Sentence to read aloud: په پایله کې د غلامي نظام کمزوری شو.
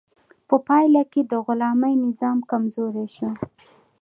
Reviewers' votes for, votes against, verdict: 2, 0, accepted